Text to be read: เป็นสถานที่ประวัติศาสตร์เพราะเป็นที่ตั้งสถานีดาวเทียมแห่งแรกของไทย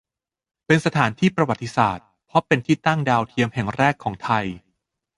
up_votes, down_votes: 0, 2